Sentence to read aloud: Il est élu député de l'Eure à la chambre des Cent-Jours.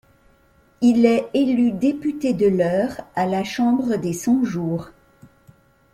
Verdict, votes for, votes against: accepted, 2, 0